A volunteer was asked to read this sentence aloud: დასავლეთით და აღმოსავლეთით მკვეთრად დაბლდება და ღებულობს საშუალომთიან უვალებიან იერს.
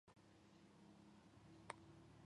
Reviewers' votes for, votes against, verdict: 1, 2, rejected